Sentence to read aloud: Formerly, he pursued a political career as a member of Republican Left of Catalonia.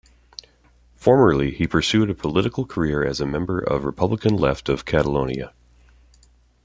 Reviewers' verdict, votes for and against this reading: accepted, 2, 1